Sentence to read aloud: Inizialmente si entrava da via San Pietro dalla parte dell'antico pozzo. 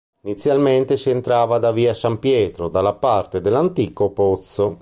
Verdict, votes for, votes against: rejected, 1, 2